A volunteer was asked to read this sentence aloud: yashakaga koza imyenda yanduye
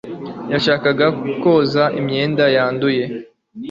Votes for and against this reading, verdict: 2, 0, accepted